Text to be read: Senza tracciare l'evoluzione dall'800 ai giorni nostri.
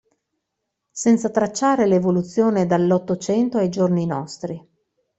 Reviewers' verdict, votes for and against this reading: rejected, 0, 2